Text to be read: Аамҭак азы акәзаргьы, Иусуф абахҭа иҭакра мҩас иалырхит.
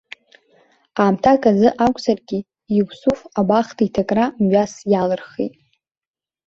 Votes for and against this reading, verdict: 2, 0, accepted